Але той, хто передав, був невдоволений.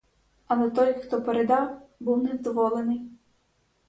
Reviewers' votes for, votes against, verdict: 4, 0, accepted